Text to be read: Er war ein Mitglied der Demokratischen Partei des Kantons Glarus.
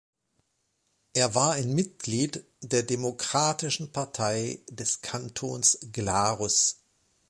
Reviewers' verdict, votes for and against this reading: accepted, 2, 0